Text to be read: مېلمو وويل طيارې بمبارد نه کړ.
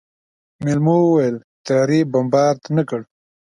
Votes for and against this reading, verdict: 2, 0, accepted